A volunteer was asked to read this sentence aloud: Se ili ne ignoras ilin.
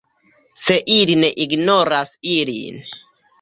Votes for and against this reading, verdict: 0, 2, rejected